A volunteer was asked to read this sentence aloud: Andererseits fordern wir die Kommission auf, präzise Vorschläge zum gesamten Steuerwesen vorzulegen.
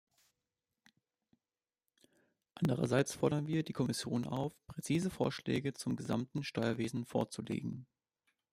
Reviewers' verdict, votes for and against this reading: accepted, 2, 1